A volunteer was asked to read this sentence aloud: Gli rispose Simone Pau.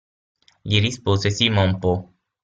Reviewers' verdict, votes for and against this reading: rejected, 3, 6